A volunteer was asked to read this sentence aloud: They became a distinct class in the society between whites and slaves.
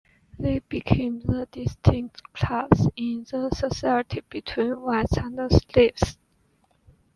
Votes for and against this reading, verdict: 1, 2, rejected